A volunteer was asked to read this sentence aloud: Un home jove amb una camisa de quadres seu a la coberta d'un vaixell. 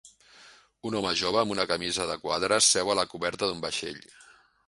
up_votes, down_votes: 2, 0